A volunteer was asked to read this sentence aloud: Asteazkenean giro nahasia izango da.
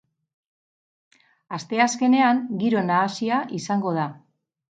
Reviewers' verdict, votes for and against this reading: accepted, 10, 0